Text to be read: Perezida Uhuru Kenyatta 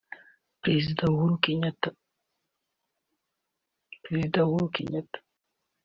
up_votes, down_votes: 1, 2